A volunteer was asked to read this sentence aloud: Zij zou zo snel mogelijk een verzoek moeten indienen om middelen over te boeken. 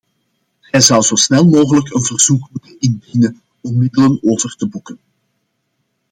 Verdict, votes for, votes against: rejected, 1, 2